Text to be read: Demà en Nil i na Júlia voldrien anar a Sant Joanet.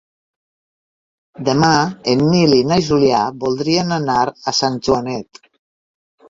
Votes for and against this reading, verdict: 1, 3, rejected